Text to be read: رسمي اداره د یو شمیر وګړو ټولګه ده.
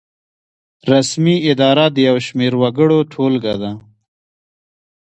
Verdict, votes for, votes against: rejected, 0, 2